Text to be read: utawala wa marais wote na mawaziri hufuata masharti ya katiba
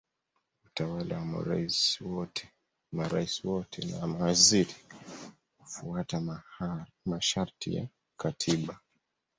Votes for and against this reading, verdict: 0, 2, rejected